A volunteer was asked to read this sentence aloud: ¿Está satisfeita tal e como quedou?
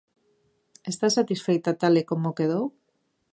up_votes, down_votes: 2, 0